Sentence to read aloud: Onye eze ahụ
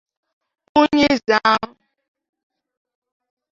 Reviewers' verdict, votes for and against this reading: rejected, 1, 2